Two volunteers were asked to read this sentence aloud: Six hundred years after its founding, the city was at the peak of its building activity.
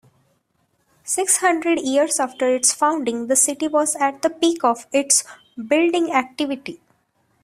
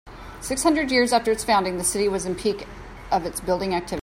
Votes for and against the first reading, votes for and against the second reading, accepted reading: 2, 1, 1, 2, first